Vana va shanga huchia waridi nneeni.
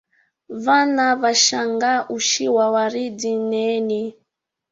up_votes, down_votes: 1, 2